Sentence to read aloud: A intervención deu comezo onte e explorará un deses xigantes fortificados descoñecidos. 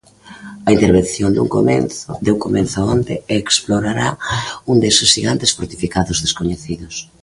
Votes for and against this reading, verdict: 0, 2, rejected